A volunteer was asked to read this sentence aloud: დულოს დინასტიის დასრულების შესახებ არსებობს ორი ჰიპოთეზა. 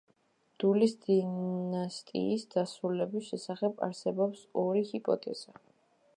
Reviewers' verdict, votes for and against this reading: rejected, 0, 2